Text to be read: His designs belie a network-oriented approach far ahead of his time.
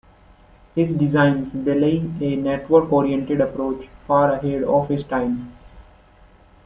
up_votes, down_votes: 1, 2